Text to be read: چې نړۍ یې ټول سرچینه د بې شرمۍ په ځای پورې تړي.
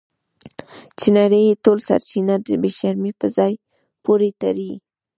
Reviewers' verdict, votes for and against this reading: rejected, 0, 2